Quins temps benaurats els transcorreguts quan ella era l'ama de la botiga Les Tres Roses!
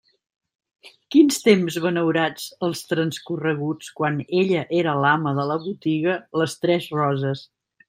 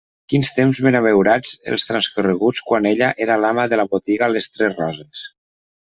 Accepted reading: first